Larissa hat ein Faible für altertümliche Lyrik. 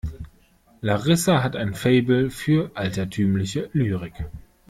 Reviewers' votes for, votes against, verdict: 2, 0, accepted